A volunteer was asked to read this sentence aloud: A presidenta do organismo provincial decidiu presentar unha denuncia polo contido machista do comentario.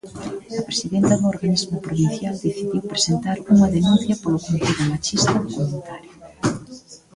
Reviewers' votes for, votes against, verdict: 1, 2, rejected